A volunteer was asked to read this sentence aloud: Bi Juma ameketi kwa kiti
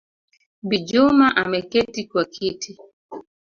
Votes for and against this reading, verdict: 2, 0, accepted